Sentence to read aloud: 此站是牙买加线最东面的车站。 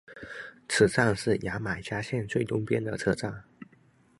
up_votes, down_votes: 0, 2